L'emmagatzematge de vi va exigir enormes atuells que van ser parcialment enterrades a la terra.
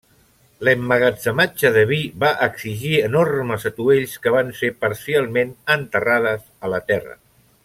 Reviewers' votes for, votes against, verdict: 3, 0, accepted